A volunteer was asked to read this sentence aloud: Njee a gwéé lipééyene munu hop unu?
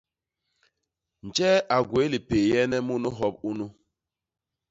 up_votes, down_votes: 2, 0